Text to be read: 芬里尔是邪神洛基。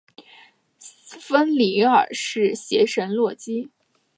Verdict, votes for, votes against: accepted, 2, 0